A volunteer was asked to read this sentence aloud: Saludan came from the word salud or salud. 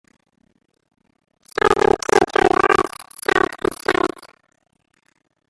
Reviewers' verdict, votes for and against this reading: rejected, 0, 2